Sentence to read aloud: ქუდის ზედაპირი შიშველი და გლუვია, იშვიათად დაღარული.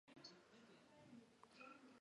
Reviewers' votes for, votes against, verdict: 0, 2, rejected